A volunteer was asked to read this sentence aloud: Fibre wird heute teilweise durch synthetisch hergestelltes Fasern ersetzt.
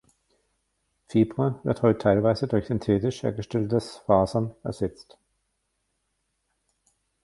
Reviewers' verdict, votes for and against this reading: rejected, 0, 2